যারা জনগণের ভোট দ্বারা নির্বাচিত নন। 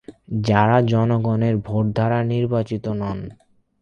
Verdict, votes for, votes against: accepted, 40, 12